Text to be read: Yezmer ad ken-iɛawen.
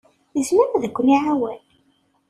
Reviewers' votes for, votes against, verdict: 2, 0, accepted